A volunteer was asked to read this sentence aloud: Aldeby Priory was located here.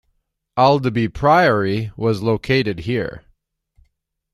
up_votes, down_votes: 2, 0